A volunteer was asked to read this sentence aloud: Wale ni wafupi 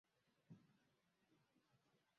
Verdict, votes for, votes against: rejected, 0, 3